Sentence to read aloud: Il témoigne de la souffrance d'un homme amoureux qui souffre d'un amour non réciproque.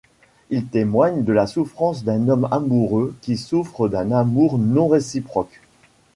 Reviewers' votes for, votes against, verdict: 2, 0, accepted